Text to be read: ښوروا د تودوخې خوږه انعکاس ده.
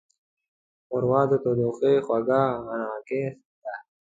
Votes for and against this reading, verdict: 0, 2, rejected